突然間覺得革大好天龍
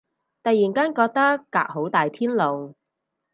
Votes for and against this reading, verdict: 2, 2, rejected